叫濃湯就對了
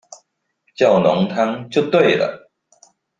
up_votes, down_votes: 2, 0